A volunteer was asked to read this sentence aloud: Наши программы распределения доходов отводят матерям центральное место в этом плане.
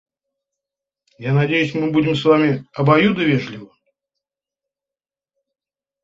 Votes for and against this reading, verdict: 0, 2, rejected